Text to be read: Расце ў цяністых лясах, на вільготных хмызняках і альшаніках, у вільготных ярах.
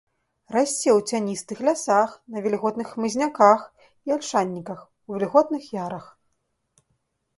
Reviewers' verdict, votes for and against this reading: accepted, 2, 0